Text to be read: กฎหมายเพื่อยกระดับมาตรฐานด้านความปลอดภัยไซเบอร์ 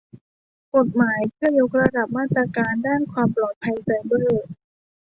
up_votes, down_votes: 1, 2